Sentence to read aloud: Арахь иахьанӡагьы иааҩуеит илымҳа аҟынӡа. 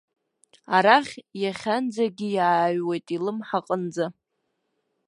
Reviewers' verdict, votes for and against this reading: accepted, 2, 0